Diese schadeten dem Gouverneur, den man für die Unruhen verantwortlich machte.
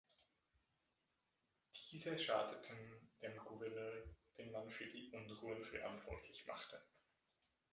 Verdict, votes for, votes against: accepted, 2, 1